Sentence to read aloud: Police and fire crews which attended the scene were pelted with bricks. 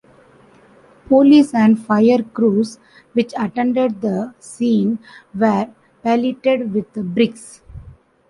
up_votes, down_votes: 0, 2